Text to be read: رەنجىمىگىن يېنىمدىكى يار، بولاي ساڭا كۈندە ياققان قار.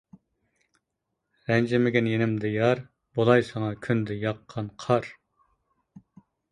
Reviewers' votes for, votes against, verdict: 0, 2, rejected